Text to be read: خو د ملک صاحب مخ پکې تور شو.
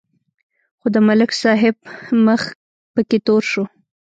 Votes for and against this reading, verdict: 3, 0, accepted